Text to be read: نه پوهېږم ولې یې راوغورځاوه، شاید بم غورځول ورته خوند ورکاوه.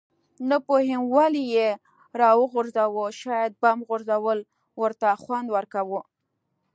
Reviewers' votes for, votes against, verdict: 2, 0, accepted